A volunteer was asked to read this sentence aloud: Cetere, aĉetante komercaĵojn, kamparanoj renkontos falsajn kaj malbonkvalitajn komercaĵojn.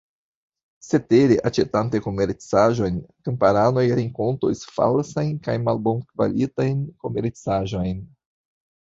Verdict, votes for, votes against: accepted, 2, 1